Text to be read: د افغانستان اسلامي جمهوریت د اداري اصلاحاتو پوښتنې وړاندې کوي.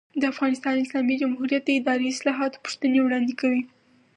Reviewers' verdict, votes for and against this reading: accepted, 4, 0